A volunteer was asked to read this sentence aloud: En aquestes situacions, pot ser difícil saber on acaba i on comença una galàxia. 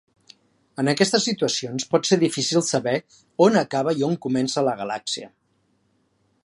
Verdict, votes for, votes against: rejected, 0, 2